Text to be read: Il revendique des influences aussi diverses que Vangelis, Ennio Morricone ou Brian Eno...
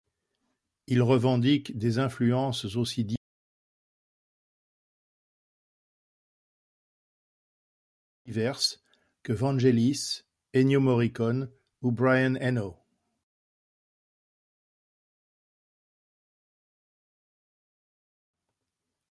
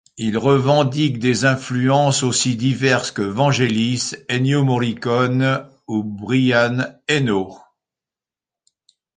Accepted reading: second